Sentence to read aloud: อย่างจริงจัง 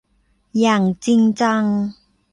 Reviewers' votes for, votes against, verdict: 2, 0, accepted